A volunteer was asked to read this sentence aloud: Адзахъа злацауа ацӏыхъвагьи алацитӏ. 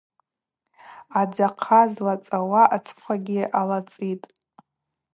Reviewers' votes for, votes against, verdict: 0, 2, rejected